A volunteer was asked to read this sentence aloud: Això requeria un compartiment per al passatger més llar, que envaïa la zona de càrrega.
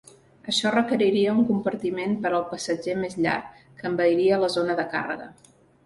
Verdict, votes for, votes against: rejected, 1, 3